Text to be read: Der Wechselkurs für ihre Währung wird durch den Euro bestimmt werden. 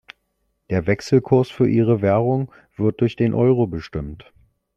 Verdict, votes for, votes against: rejected, 0, 2